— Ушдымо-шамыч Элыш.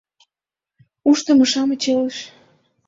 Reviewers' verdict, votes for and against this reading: accepted, 2, 0